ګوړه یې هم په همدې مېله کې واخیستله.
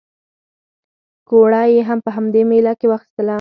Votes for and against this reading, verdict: 4, 0, accepted